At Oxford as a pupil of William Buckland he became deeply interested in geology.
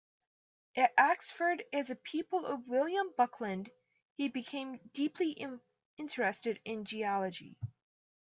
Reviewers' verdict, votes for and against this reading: rejected, 0, 2